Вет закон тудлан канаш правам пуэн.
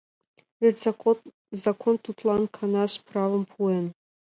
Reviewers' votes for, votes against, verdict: 2, 0, accepted